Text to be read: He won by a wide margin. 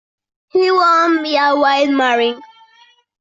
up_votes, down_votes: 0, 2